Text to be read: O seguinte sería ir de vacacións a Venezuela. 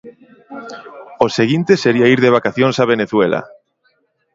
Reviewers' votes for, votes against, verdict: 2, 0, accepted